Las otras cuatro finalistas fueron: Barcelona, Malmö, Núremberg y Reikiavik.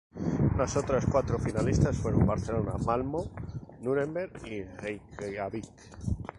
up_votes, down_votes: 2, 0